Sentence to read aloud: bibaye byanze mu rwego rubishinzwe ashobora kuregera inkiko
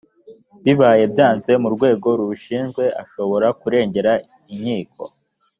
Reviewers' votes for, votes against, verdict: 1, 2, rejected